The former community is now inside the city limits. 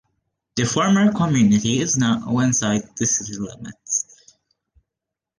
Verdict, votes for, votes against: rejected, 1, 2